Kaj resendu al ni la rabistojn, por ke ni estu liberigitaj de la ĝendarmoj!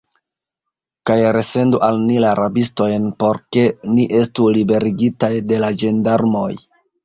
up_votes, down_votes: 2, 0